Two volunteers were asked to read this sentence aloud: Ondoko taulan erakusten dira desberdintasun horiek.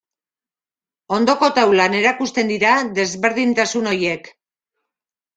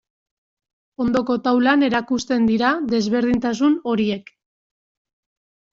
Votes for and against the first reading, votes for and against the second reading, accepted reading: 1, 2, 2, 0, second